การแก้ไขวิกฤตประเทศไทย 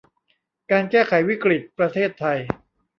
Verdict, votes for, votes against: rejected, 0, 2